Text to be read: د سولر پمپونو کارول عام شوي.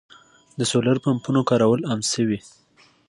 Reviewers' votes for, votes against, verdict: 2, 0, accepted